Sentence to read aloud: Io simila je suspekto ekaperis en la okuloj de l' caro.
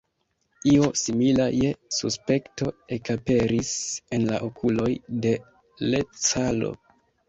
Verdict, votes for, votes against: rejected, 0, 2